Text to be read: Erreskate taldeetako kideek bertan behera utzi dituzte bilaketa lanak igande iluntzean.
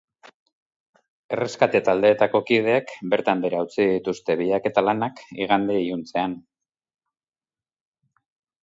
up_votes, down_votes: 4, 0